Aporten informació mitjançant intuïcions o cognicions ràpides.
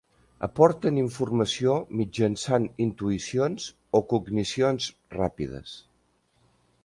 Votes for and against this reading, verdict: 3, 0, accepted